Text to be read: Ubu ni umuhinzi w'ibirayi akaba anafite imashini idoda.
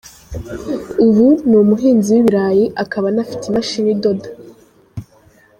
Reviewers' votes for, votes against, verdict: 1, 2, rejected